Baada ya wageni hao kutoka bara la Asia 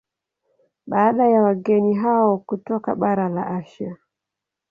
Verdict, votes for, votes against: accepted, 2, 0